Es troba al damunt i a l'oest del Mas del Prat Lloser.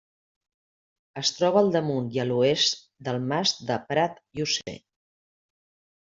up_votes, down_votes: 1, 2